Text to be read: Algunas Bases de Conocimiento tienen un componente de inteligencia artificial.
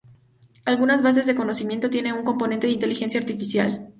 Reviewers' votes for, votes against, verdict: 2, 0, accepted